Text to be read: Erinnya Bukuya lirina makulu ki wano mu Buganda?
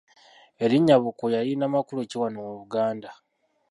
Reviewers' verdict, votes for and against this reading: rejected, 1, 2